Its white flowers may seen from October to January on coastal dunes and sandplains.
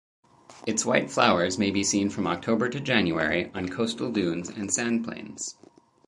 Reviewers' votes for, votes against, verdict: 2, 2, rejected